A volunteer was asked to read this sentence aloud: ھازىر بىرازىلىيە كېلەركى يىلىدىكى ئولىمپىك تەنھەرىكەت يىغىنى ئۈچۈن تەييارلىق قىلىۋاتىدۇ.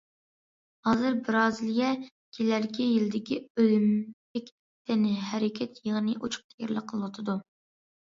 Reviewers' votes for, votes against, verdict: 0, 2, rejected